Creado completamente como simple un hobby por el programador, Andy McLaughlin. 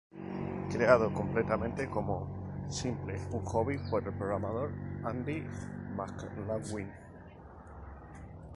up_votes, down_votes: 2, 0